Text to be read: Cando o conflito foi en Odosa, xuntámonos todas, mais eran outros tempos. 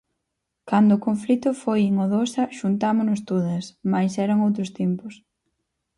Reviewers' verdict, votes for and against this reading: accepted, 4, 0